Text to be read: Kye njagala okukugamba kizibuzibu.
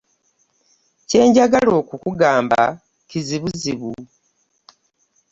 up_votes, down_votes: 3, 0